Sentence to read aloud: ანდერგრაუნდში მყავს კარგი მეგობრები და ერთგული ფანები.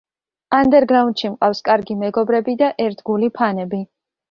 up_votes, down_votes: 2, 0